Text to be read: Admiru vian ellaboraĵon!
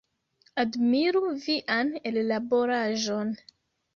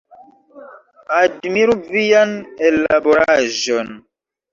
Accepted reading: first